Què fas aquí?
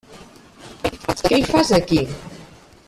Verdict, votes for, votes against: rejected, 0, 2